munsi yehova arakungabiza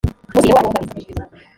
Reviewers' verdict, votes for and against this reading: rejected, 0, 2